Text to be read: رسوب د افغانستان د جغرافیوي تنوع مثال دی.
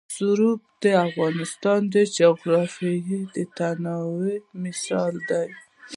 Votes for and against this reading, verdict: 2, 0, accepted